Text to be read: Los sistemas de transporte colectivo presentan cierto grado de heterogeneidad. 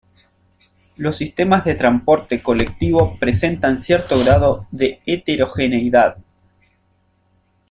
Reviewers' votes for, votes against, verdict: 0, 2, rejected